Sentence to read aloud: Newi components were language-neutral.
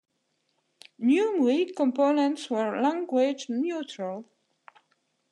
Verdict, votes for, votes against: accepted, 2, 0